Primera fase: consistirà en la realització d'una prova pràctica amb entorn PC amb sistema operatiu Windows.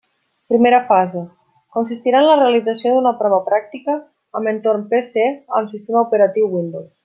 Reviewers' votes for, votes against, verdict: 2, 0, accepted